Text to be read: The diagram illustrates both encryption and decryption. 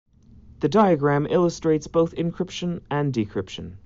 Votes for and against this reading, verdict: 2, 0, accepted